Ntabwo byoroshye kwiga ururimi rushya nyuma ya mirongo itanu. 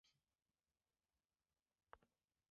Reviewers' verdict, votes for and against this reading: rejected, 0, 2